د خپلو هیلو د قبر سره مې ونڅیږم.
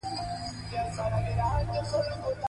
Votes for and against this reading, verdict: 1, 2, rejected